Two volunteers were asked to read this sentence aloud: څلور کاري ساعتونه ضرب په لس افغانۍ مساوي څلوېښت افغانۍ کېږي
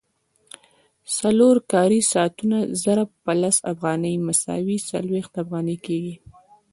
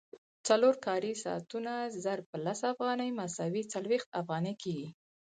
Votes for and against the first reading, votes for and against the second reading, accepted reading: 0, 2, 4, 0, second